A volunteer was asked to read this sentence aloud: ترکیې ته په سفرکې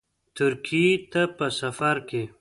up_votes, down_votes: 2, 0